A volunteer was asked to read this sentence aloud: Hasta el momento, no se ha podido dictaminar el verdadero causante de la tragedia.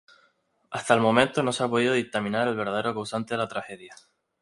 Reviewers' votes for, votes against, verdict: 0, 4, rejected